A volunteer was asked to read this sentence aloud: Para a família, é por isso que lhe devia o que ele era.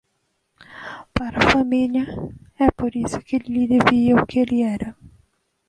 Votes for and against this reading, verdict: 2, 1, accepted